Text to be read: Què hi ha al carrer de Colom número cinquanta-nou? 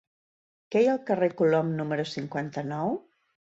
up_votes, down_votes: 1, 2